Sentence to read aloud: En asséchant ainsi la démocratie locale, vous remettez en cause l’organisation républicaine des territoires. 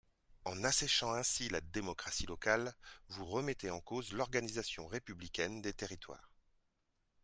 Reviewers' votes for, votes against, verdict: 2, 0, accepted